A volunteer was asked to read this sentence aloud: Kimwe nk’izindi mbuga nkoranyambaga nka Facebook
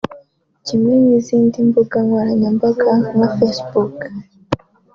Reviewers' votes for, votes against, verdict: 1, 2, rejected